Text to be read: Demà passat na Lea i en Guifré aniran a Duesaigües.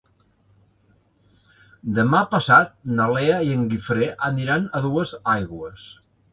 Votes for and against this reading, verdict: 3, 0, accepted